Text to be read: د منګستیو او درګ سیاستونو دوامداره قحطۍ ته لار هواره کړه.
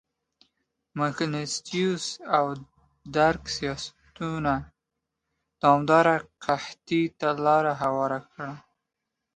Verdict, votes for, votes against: accepted, 2, 0